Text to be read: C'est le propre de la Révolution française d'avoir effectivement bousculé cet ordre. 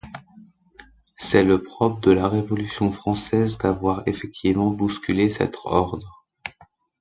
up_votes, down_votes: 0, 2